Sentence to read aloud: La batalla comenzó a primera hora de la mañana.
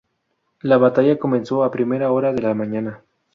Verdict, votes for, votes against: accepted, 4, 0